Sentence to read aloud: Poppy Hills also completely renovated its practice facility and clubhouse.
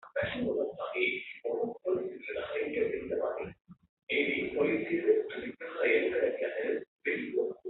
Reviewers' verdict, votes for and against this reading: rejected, 0, 2